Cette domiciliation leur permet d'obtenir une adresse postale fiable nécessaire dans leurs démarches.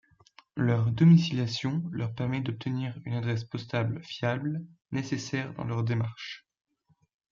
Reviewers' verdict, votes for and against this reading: rejected, 1, 2